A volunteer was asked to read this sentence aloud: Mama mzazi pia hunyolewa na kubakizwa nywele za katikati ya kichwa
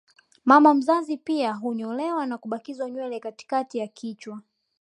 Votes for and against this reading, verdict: 2, 0, accepted